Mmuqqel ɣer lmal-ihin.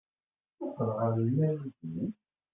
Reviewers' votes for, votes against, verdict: 0, 2, rejected